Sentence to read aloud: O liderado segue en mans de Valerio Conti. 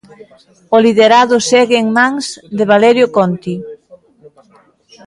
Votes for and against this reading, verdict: 1, 2, rejected